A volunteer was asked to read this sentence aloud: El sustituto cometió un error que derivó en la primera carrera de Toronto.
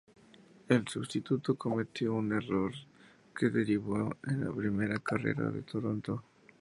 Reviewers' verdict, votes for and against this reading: accepted, 2, 0